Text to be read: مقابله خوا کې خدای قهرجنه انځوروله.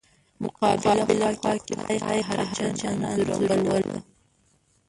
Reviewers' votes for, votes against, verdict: 1, 2, rejected